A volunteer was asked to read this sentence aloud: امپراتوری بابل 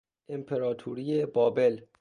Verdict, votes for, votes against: accepted, 2, 0